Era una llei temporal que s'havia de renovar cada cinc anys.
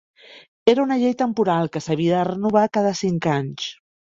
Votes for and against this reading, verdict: 2, 0, accepted